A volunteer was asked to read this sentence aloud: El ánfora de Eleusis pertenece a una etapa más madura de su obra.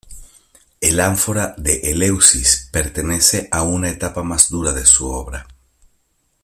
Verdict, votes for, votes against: rejected, 1, 2